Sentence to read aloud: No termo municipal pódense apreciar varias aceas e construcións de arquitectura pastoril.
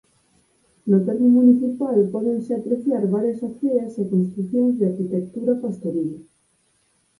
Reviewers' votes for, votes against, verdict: 2, 4, rejected